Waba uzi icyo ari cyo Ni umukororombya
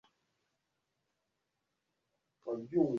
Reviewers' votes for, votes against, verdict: 0, 2, rejected